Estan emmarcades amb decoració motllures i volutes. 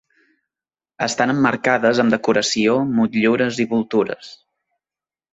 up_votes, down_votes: 0, 2